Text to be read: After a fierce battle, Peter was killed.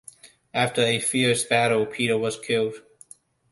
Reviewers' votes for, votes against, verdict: 2, 0, accepted